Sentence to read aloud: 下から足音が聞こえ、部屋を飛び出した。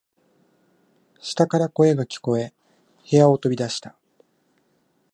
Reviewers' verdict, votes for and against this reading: rejected, 1, 2